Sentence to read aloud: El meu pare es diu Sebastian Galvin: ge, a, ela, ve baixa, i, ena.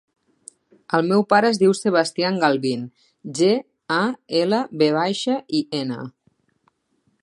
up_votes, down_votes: 0, 2